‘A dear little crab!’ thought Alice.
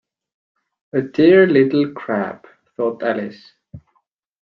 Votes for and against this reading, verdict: 2, 0, accepted